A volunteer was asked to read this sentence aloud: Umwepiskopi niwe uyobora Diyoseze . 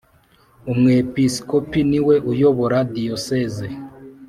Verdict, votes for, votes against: accepted, 4, 0